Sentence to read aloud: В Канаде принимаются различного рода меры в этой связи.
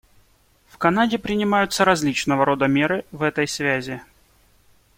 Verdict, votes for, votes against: accepted, 2, 0